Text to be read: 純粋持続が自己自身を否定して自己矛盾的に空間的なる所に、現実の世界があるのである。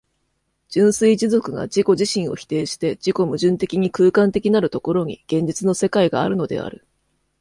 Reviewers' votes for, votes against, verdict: 2, 0, accepted